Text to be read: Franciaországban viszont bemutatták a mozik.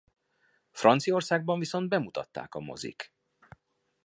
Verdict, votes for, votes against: accepted, 2, 0